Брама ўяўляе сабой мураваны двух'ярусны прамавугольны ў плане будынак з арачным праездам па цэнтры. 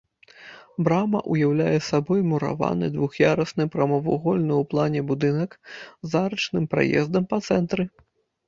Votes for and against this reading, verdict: 2, 0, accepted